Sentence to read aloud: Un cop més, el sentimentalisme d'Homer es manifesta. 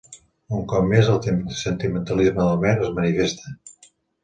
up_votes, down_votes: 0, 2